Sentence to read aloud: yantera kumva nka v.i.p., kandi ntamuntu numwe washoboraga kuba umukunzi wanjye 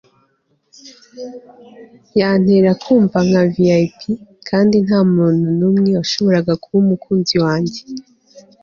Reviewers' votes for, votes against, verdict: 2, 0, accepted